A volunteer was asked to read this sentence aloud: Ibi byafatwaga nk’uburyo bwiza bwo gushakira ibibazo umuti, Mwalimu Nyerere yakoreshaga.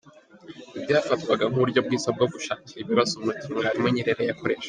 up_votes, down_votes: 2, 1